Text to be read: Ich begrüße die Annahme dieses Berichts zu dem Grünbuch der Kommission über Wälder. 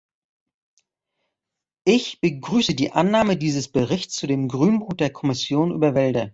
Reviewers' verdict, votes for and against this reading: rejected, 0, 2